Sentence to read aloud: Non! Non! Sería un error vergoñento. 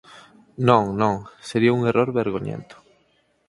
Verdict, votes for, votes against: accepted, 4, 0